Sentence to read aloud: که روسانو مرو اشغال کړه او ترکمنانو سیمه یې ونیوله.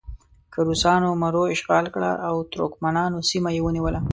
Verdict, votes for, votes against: accepted, 2, 0